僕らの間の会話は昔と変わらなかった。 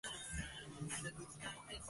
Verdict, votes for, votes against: rejected, 0, 2